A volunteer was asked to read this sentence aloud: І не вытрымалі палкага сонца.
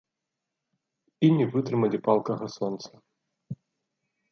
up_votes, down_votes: 2, 0